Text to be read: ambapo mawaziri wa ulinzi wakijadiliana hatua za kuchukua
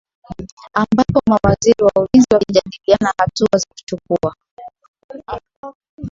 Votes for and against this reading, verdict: 1, 2, rejected